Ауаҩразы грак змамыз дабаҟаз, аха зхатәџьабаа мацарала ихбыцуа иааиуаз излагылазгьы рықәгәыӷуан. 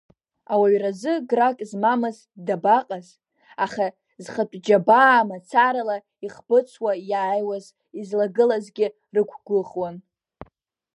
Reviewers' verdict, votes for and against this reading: accepted, 2, 0